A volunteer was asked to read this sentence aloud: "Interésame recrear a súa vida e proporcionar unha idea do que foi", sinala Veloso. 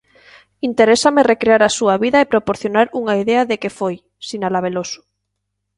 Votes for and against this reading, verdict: 0, 2, rejected